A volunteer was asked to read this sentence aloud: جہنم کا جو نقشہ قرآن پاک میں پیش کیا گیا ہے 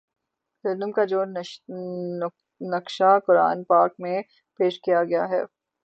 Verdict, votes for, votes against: rejected, 0, 6